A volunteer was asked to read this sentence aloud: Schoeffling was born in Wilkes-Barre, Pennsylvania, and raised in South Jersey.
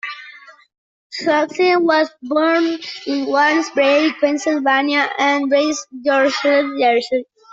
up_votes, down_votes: 0, 2